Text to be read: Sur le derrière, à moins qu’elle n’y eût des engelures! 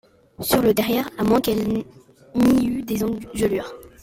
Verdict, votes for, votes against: rejected, 0, 2